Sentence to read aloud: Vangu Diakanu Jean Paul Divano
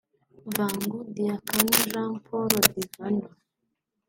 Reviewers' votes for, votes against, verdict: 1, 2, rejected